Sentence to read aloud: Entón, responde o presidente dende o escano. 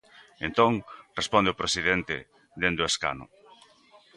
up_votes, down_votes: 2, 0